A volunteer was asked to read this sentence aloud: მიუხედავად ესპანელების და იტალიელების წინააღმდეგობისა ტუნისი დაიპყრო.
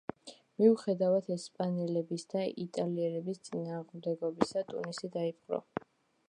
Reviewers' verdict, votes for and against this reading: rejected, 0, 2